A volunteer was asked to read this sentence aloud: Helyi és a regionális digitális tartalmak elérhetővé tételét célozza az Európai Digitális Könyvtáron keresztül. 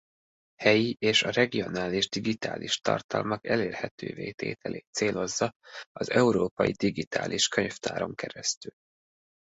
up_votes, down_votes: 2, 0